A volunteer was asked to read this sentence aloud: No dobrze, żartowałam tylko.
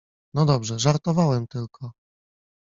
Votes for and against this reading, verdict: 0, 2, rejected